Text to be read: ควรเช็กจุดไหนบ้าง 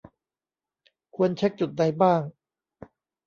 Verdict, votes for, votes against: rejected, 0, 2